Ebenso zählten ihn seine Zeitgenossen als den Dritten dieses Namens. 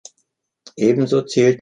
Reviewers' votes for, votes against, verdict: 0, 3, rejected